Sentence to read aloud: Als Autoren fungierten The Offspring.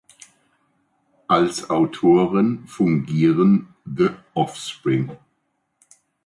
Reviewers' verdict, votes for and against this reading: rejected, 0, 2